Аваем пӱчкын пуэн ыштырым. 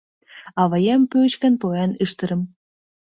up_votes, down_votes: 1, 2